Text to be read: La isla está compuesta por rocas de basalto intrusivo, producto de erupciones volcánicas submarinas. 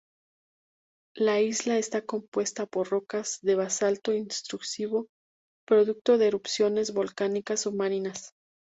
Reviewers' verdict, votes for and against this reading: rejected, 0, 2